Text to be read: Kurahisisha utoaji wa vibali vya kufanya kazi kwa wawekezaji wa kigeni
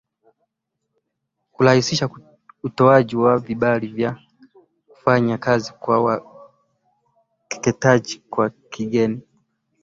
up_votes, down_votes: 5, 6